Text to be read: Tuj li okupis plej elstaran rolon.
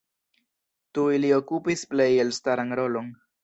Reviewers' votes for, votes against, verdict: 2, 0, accepted